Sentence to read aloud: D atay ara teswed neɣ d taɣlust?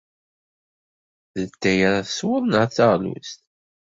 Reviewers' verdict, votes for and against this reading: accepted, 2, 0